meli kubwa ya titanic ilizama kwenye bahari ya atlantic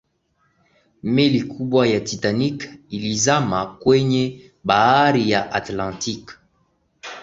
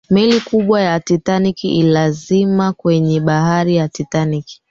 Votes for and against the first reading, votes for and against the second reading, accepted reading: 2, 0, 0, 2, first